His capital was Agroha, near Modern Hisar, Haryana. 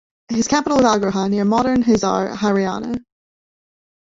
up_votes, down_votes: 1, 2